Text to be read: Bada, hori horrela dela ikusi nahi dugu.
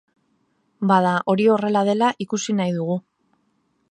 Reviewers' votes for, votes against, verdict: 3, 0, accepted